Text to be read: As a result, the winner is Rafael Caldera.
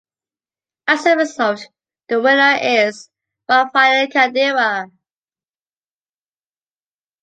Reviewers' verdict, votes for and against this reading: accepted, 2, 0